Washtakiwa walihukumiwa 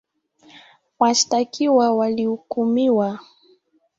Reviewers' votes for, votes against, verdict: 2, 1, accepted